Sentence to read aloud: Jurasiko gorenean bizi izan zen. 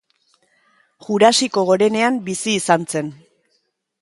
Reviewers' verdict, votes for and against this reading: accepted, 2, 0